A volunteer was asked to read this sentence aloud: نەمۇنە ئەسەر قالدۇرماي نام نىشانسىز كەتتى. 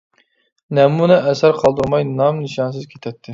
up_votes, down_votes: 0, 2